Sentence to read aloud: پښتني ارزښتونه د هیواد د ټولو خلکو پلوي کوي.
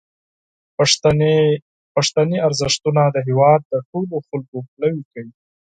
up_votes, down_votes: 0, 6